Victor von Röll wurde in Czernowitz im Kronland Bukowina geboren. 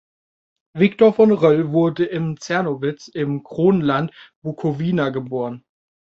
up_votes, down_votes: 2, 0